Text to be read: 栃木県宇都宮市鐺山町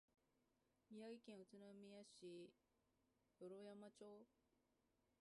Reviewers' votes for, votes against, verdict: 0, 2, rejected